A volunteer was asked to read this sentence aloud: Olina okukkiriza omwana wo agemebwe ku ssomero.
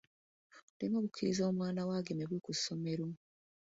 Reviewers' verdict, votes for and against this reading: rejected, 0, 2